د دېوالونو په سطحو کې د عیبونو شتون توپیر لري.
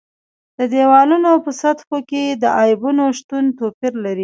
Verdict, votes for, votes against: accepted, 2, 0